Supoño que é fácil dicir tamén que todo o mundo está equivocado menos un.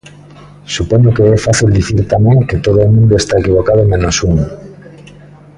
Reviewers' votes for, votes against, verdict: 2, 0, accepted